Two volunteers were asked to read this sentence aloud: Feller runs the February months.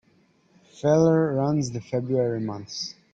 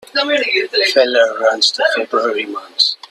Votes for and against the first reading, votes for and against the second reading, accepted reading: 3, 0, 1, 2, first